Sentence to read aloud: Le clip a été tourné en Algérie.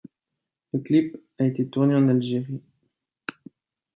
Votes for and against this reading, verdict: 2, 0, accepted